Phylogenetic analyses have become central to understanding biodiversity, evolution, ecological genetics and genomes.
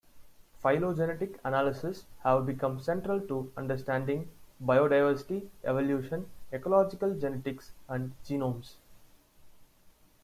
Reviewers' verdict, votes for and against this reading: rejected, 1, 2